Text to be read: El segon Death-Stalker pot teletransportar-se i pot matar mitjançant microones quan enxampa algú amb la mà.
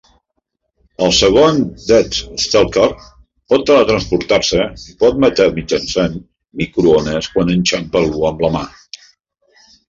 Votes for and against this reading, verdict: 0, 2, rejected